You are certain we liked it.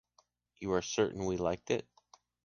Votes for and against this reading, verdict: 2, 0, accepted